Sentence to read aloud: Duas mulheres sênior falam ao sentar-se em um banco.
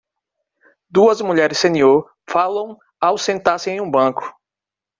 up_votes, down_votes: 2, 0